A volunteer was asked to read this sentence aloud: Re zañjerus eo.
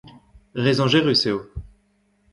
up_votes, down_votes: 1, 2